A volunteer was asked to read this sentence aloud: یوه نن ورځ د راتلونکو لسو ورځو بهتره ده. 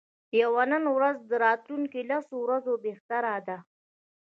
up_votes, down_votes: 0, 2